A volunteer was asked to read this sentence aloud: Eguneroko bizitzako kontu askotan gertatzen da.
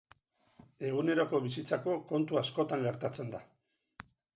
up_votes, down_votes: 4, 0